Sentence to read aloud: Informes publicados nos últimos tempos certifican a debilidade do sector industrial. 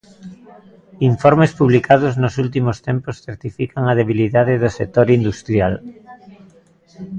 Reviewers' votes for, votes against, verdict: 2, 0, accepted